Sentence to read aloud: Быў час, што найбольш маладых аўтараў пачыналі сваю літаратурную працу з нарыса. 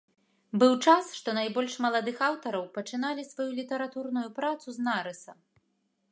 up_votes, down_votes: 2, 0